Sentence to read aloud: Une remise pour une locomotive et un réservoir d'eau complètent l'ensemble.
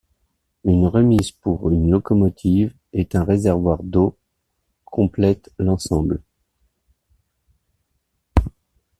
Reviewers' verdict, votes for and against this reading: rejected, 1, 2